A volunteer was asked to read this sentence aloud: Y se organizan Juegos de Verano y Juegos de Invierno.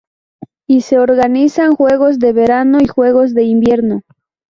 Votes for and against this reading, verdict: 2, 0, accepted